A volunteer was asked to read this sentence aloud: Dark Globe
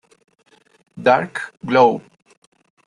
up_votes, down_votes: 0, 2